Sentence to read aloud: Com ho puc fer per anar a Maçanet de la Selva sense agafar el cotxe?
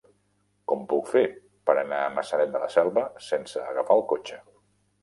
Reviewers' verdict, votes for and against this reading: rejected, 0, 2